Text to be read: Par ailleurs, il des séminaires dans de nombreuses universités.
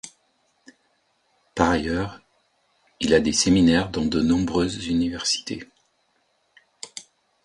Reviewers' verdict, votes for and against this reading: rejected, 0, 2